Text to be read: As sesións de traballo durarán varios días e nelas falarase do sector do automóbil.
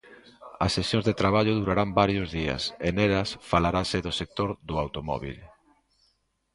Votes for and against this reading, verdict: 2, 0, accepted